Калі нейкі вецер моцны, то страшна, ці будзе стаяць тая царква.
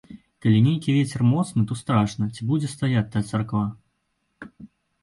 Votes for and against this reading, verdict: 0, 2, rejected